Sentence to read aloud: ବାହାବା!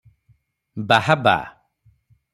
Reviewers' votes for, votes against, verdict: 3, 0, accepted